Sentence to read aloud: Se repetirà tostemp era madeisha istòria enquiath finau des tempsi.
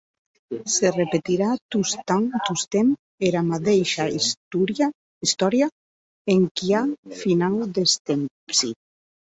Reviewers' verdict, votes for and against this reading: rejected, 0, 2